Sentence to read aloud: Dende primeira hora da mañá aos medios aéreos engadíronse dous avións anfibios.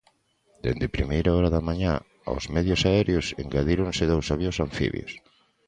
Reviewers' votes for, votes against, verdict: 2, 0, accepted